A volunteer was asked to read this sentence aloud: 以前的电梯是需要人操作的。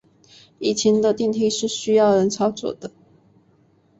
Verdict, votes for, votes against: accepted, 3, 0